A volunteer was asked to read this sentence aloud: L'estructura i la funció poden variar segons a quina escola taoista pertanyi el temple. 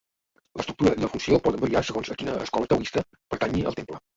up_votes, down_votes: 0, 2